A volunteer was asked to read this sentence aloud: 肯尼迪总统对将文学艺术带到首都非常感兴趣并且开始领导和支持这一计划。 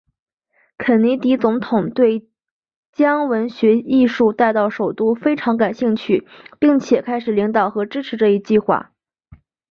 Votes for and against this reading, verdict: 3, 0, accepted